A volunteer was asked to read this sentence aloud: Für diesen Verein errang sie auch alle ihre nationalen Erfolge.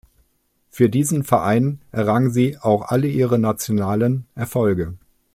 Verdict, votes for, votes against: accepted, 2, 0